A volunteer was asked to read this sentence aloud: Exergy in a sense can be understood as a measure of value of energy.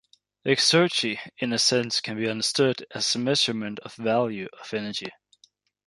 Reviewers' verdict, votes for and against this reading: rejected, 0, 2